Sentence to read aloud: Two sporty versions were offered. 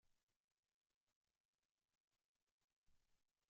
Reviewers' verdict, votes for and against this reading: rejected, 0, 2